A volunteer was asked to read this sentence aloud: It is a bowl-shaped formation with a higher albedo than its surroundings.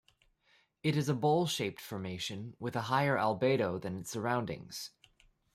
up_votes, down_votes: 2, 1